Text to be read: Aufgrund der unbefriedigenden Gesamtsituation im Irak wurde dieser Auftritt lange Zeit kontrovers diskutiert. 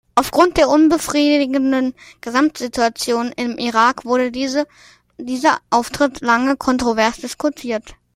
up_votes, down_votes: 0, 2